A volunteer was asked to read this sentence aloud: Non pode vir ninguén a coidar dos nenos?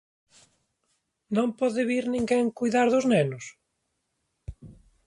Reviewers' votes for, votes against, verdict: 0, 2, rejected